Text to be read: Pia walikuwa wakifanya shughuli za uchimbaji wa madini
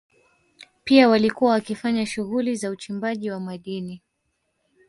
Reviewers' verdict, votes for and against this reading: accepted, 3, 1